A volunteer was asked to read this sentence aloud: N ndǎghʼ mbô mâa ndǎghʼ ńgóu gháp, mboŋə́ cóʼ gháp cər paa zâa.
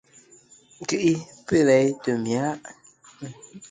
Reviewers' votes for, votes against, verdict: 0, 2, rejected